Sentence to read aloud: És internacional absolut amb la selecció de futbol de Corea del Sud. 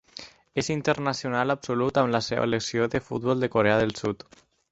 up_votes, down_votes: 2, 4